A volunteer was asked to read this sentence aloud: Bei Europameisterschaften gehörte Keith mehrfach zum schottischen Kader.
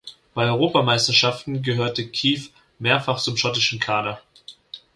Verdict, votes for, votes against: accepted, 2, 0